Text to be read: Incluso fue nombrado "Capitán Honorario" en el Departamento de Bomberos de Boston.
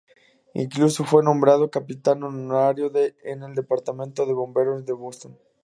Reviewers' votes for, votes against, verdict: 0, 4, rejected